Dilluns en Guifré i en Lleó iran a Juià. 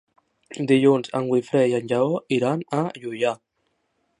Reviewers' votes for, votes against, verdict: 1, 2, rejected